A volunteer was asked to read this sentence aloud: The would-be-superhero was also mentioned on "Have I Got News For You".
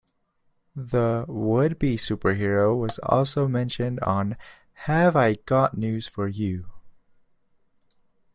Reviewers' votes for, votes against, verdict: 2, 0, accepted